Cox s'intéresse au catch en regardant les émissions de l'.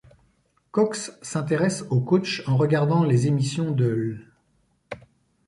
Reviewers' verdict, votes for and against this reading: rejected, 1, 2